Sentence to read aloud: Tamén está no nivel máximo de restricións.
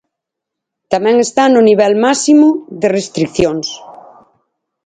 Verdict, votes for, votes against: rejected, 2, 4